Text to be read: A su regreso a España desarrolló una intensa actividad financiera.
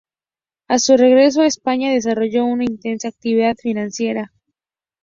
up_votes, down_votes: 2, 0